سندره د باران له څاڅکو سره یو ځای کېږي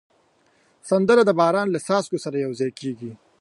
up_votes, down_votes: 2, 0